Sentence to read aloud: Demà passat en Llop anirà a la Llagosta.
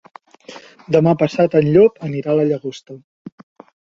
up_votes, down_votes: 6, 0